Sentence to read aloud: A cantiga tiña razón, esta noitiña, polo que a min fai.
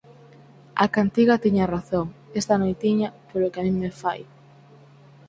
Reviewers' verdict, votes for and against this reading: rejected, 2, 4